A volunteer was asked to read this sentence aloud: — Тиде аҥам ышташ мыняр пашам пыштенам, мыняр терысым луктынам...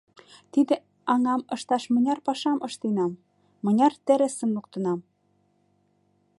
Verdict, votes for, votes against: rejected, 1, 2